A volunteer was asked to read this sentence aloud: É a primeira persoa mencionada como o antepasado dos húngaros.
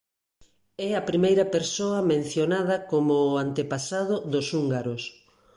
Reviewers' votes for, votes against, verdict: 2, 0, accepted